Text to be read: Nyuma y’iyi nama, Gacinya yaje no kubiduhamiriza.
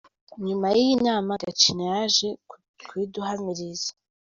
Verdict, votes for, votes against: rejected, 1, 2